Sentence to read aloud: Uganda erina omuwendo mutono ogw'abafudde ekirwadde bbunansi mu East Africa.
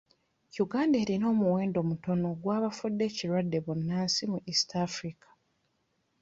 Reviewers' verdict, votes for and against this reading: rejected, 0, 2